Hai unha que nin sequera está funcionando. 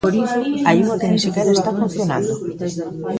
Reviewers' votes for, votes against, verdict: 0, 2, rejected